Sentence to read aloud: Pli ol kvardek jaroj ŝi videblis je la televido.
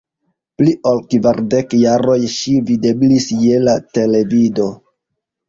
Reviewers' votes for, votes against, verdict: 0, 2, rejected